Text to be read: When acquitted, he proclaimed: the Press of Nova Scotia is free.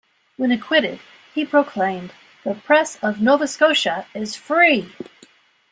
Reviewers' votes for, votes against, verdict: 4, 0, accepted